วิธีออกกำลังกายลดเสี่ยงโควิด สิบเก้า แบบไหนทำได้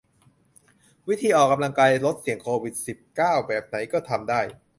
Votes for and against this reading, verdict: 0, 2, rejected